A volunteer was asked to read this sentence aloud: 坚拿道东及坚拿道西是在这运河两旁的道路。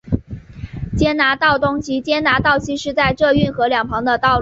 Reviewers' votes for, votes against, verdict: 5, 0, accepted